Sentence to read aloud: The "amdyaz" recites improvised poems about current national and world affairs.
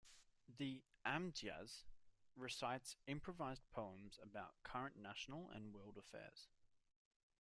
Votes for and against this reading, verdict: 1, 2, rejected